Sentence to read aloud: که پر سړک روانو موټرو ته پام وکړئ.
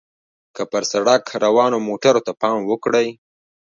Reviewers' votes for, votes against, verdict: 2, 1, accepted